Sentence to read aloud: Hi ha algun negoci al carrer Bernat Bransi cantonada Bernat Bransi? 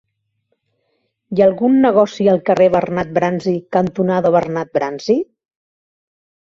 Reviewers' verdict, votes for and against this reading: accepted, 3, 0